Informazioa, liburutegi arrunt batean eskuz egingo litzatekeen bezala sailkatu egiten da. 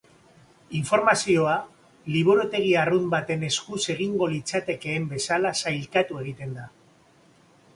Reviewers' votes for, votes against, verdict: 3, 0, accepted